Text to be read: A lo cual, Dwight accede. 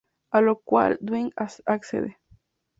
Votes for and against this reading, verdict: 0, 2, rejected